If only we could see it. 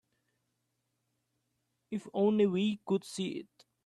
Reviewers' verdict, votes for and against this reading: accepted, 2, 0